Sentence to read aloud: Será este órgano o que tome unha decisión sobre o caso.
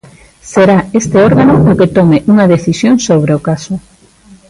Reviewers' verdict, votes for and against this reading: accepted, 2, 0